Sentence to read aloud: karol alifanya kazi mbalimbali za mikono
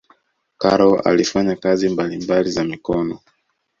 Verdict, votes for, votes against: accepted, 2, 0